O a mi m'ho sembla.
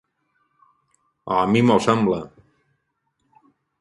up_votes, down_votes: 4, 2